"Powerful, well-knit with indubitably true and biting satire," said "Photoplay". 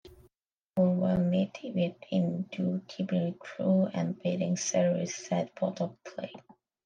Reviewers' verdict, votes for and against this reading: rejected, 1, 2